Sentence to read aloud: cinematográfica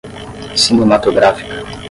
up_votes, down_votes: 10, 0